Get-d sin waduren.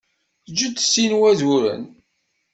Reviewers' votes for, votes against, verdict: 1, 2, rejected